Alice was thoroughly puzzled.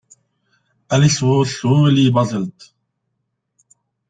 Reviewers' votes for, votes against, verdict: 0, 2, rejected